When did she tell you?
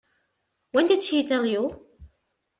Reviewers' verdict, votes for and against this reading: accepted, 2, 0